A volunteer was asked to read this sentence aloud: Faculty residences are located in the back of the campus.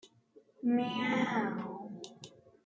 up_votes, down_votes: 0, 2